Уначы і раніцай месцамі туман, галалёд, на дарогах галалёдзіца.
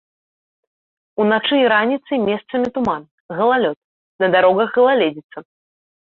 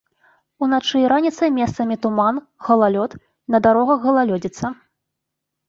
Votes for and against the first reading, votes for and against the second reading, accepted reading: 1, 2, 3, 0, second